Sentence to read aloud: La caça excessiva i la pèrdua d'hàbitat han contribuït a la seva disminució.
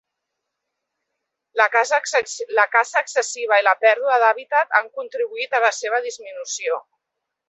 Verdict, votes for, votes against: rejected, 1, 2